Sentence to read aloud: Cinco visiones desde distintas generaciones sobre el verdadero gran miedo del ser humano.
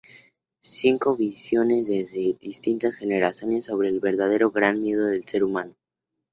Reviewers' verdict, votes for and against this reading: accepted, 6, 2